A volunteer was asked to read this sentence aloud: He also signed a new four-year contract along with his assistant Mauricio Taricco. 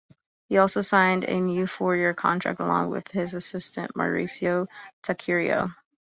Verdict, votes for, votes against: rejected, 0, 2